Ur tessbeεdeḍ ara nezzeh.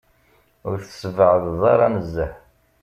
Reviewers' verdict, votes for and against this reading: accepted, 2, 0